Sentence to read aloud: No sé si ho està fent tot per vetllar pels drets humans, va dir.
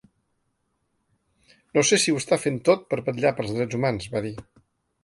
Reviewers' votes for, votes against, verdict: 2, 1, accepted